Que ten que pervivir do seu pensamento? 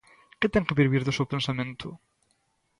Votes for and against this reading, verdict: 1, 2, rejected